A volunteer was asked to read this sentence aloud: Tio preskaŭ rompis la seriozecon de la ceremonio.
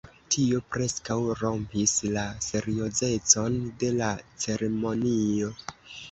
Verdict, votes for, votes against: accepted, 2, 1